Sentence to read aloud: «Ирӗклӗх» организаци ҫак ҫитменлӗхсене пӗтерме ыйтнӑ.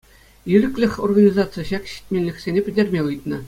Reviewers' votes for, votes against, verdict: 2, 0, accepted